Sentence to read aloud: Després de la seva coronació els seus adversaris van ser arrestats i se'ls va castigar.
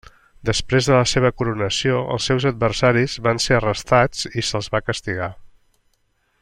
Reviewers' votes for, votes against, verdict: 3, 0, accepted